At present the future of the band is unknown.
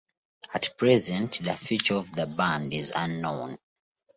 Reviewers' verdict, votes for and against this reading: accepted, 2, 0